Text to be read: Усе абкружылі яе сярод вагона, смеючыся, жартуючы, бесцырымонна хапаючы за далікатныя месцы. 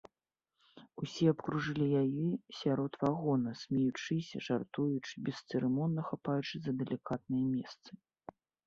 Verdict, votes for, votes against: accepted, 2, 0